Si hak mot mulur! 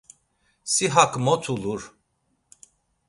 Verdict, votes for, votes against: rejected, 1, 2